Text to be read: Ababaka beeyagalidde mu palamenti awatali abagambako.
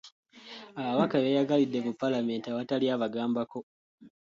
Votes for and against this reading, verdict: 2, 0, accepted